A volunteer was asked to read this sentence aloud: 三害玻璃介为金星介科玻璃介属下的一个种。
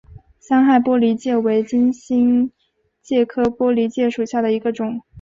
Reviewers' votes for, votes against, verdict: 3, 0, accepted